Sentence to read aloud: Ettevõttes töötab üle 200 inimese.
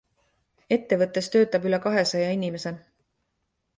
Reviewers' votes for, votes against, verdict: 0, 2, rejected